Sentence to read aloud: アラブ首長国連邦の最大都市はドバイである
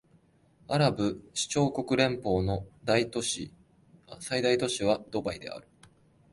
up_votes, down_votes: 0, 2